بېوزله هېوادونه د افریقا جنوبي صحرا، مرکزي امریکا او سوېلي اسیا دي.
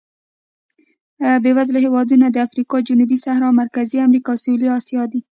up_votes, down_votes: 1, 2